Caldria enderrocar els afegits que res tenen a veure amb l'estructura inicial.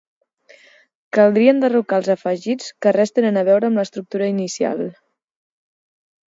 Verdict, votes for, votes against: accepted, 4, 0